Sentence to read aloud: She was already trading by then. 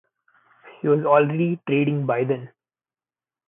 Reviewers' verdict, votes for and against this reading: rejected, 1, 2